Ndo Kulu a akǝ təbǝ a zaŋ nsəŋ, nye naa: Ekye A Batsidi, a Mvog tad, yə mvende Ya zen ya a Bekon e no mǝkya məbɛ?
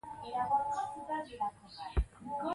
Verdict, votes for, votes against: rejected, 1, 2